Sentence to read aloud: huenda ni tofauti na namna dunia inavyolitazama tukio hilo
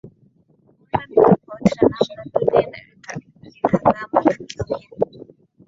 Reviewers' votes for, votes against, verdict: 0, 2, rejected